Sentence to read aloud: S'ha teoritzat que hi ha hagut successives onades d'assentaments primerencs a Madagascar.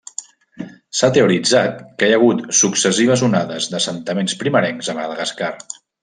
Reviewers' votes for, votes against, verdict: 0, 2, rejected